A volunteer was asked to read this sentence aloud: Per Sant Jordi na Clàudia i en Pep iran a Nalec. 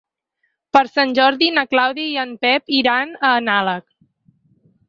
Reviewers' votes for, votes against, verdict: 4, 2, accepted